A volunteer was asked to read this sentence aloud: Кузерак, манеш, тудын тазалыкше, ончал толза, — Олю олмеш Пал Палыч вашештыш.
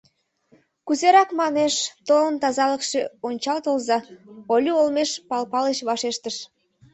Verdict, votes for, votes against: rejected, 1, 2